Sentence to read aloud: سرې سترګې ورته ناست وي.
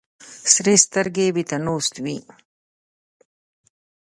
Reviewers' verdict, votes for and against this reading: accepted, 2, 0